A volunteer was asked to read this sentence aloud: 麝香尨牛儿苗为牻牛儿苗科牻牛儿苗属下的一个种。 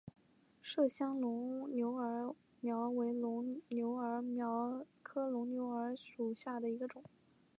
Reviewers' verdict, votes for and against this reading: rejected, 2, 3